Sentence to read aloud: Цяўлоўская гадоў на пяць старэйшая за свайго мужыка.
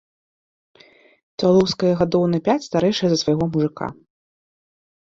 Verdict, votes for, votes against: rejected, 1, 2